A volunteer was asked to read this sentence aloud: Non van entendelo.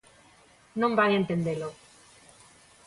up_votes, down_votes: 2, 0